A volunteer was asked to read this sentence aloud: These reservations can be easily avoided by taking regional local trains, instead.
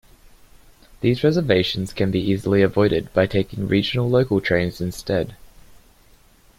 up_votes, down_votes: 1, 2